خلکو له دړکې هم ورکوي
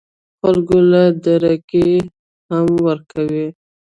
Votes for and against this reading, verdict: 2, 0, accepted